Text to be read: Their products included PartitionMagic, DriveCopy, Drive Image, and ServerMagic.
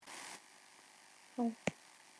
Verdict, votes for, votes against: rejected, 0, 2